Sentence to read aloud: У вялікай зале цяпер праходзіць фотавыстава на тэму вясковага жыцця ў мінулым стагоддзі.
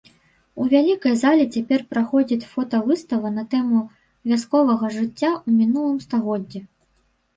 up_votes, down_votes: 0, 2